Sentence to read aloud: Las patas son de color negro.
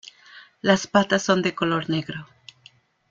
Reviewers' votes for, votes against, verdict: 2, 0, accepted